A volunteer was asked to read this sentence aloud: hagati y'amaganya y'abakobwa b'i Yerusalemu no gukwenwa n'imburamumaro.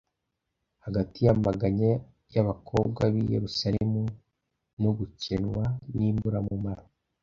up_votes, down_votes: 0, 2